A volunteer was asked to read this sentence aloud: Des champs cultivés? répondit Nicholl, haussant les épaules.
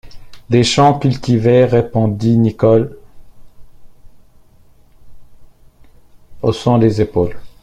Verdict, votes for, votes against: accepted, 2, 1